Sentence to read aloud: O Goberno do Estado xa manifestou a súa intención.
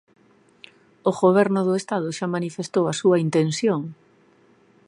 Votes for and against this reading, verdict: 2, 0, accepted